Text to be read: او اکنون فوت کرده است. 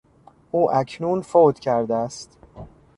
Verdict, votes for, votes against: accepted, 2, 0